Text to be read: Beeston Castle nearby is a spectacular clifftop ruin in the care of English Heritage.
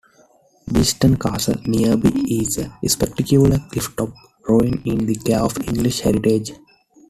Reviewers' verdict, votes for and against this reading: accepted, 2, 0